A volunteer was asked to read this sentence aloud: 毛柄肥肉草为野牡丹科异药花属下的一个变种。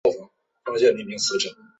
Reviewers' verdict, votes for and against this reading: rejected, 0, 2